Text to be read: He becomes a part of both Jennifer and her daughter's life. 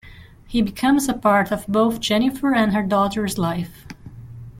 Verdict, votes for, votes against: accepted, 2, 0